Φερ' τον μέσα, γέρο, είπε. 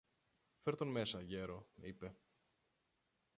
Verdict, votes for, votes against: rejected, 0, 2